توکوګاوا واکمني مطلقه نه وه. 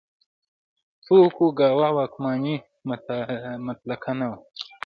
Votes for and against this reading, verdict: 0, 2, rejected